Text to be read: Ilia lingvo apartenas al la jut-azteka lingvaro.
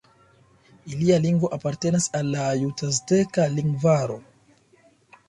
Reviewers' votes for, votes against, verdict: 3, 1, accepted